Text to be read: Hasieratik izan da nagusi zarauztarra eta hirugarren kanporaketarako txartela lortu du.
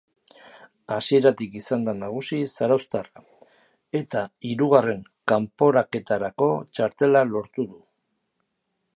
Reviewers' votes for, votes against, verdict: 2, 0, accepted